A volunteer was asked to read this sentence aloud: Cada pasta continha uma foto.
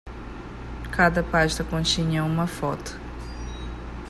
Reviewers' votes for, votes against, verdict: 5, 0, accepted